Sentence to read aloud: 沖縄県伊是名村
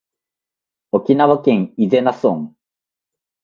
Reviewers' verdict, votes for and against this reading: accepted, 2, 0